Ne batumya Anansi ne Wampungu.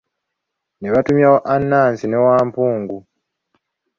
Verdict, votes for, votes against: rejected, 0, 2